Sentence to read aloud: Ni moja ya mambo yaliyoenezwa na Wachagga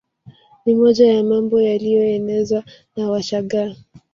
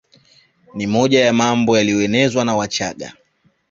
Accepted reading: second